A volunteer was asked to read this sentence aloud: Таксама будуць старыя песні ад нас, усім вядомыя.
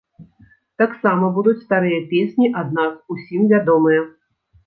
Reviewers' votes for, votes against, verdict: 2, 1, accepted